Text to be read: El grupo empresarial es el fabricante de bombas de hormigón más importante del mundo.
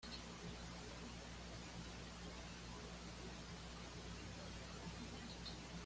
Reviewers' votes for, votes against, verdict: 0, 2, rejected